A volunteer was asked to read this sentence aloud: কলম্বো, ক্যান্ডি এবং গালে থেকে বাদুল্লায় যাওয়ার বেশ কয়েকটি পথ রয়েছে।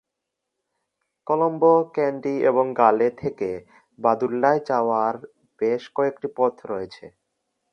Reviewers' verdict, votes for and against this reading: accepted, 2, 0